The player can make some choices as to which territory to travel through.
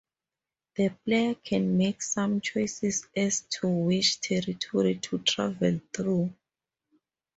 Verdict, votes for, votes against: accepted, 2, 0